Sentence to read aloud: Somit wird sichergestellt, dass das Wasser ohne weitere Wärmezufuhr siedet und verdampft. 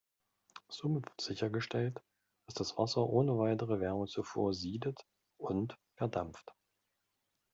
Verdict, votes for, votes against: accepted, 2, 0